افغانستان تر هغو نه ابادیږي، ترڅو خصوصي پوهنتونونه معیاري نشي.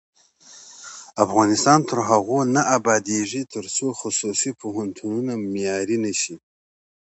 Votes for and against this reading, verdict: 2, 0, accepted